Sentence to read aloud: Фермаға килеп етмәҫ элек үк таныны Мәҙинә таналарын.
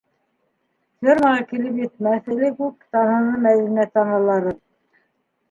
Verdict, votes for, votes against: rejected, 1, 2